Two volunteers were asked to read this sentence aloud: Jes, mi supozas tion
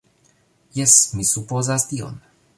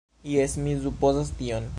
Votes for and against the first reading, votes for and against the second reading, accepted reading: 2, 0, 0, 2, first